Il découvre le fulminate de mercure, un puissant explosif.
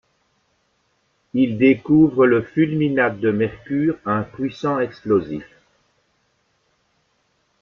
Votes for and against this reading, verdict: 2, 0, accepted